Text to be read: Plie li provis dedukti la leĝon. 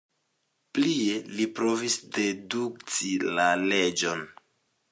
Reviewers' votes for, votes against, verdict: 2, 0, accepted